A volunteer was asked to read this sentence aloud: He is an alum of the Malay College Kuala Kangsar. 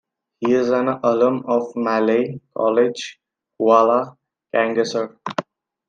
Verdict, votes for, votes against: rejected, 1, 2